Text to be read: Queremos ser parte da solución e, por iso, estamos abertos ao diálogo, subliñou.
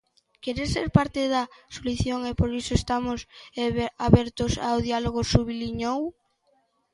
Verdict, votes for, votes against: rejected, 0, 2